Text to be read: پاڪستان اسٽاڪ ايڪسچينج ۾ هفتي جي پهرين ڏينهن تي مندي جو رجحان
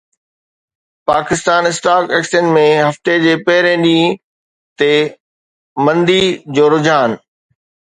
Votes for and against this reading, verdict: 2, 0, accepted